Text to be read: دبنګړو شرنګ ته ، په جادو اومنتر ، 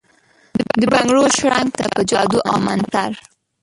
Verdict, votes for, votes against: rejected, 1, 2